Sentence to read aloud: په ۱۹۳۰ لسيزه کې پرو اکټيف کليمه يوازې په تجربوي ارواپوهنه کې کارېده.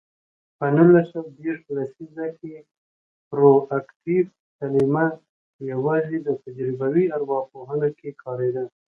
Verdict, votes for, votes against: rejected, 0, 2